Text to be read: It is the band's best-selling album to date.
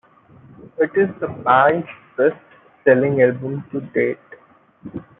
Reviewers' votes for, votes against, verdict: 2, 0, accepted